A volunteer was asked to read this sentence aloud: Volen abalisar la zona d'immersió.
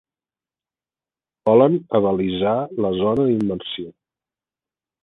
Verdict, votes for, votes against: rejected, 1, 2